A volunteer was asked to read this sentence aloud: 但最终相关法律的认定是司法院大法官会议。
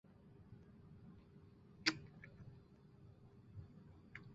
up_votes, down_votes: 3, 4